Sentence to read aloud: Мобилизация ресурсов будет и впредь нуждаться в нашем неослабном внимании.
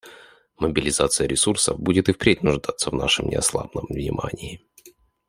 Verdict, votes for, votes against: accepted, 2, 0